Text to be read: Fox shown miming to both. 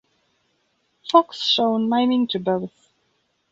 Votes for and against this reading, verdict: 2, 3, rejected